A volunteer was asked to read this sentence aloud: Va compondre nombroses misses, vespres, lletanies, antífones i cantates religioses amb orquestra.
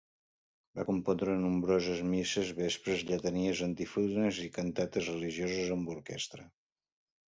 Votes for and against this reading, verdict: 0, 2, rejected